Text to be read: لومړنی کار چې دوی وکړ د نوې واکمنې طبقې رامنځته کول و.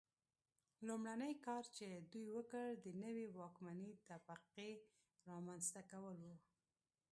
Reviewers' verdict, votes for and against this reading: rejected, 1, 2